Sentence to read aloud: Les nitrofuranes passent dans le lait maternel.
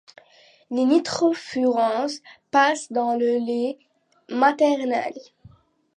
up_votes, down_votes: 1, 2